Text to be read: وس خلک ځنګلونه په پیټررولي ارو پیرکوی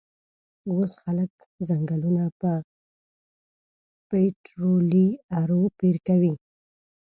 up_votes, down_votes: 0, 2